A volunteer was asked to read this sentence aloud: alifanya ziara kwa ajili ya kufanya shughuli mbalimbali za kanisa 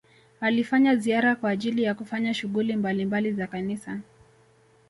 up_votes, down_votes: 2, 0